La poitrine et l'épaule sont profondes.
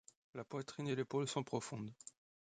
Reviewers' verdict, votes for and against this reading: accepted, 2, 0